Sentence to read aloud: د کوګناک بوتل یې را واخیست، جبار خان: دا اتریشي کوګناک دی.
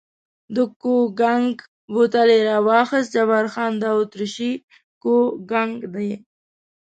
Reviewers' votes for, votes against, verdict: 1, 2, rejected